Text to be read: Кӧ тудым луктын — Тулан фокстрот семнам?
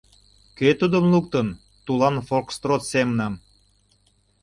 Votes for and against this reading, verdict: 2, 0, accepted